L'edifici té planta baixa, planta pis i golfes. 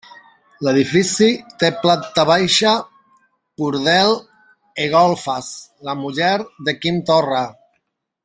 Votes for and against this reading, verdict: 0, 2, rejected